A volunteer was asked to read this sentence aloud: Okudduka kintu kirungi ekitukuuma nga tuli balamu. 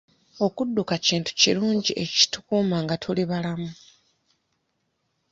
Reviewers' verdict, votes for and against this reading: accepted, 2, 0